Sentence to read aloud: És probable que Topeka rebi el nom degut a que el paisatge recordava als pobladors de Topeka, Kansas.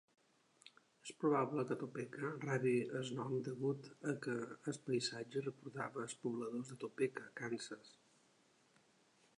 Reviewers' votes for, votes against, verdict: 1, 2, rejected